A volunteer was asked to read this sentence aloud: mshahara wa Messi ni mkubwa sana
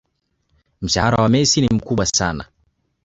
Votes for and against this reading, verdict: 1, 2, rejected